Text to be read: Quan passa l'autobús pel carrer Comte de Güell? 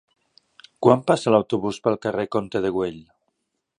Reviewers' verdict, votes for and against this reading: accepted, 3, 0